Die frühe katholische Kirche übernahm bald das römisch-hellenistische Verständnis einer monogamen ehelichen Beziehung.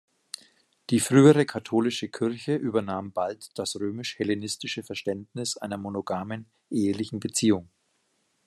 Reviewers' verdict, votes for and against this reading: rejected, 1, 2